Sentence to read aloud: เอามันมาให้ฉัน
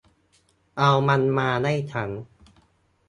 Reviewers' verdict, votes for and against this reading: rejected, 0, 2